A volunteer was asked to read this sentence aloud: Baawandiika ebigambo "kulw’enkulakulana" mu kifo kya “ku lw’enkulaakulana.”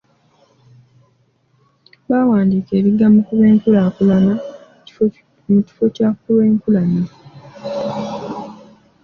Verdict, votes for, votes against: rejected, 1, 2